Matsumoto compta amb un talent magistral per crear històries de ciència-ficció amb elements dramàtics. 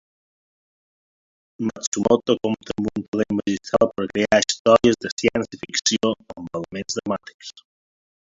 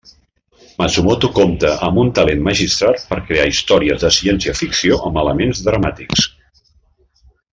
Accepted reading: second